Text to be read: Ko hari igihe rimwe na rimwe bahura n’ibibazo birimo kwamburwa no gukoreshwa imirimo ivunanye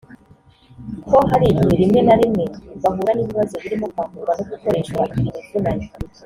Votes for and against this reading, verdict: 1, 2, rejected